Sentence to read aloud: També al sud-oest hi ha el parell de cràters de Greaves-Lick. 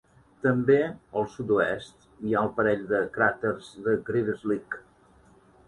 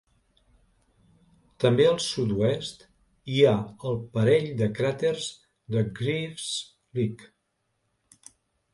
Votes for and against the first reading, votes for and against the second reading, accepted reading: 2, 0, 0, 2, first